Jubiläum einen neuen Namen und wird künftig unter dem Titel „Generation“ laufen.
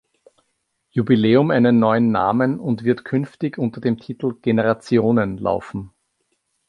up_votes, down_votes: 1, 2